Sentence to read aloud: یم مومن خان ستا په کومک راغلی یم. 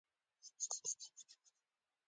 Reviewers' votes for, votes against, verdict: 2, 1, accepted